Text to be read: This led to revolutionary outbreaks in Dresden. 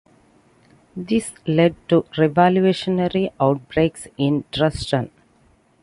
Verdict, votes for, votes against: accepted, 2, 0